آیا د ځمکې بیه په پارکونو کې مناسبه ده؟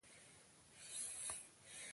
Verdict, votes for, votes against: accepted, 2, 0